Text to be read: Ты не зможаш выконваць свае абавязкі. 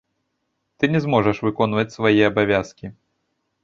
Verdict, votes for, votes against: accepted, 2, 0